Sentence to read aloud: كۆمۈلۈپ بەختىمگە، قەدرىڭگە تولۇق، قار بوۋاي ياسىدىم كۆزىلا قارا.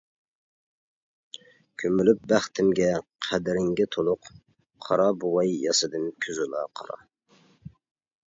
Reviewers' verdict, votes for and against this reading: rejected, 0, 2